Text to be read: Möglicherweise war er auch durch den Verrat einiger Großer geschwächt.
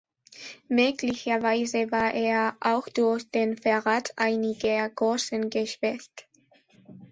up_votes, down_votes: 0, 2